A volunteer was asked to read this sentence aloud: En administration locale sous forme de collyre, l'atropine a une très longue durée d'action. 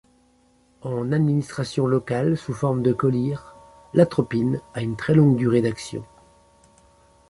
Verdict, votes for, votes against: accepted, 2, 0